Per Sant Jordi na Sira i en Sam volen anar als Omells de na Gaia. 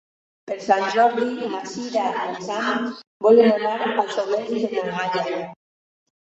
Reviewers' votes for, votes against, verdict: 0, 4, rejected